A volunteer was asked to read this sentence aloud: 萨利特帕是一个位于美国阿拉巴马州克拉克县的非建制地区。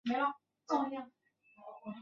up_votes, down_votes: 0, 2